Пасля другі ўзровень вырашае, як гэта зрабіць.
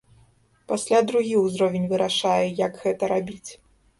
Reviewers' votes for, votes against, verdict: 0, 3, rejected